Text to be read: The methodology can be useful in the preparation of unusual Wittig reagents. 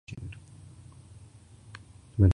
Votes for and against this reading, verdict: 0, 2, rejected